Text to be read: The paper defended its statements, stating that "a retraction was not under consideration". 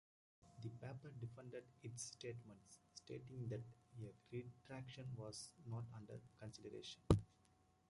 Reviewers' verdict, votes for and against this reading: rejected, 0, 2